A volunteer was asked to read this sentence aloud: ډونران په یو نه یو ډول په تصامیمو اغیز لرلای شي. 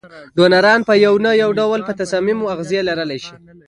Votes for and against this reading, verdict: 2, 1, accepted